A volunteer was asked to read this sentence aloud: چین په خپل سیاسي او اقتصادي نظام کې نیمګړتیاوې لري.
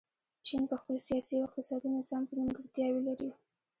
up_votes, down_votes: 1, 2